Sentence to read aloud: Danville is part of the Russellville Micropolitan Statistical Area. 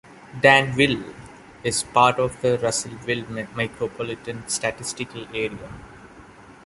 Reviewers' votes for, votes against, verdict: 0, 2, rejected